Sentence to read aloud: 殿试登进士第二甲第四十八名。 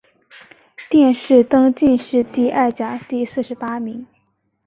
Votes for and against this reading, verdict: 4, 0, accepted